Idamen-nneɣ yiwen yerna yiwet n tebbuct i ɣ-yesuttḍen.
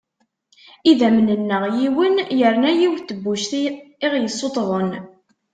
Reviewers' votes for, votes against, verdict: 2, 1, accepted